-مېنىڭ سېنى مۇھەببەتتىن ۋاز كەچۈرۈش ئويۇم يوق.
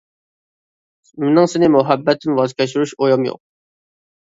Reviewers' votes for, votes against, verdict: 2, 0, accepted